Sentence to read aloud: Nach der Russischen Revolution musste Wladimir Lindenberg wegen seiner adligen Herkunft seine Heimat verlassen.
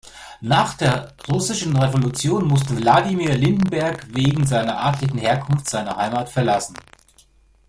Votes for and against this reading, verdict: 2, 0, accepted